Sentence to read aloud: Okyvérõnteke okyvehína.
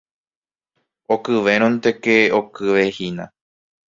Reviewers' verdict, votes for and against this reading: accepted, 2, 0